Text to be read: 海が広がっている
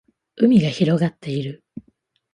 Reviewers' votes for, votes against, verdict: 4, 0, accepted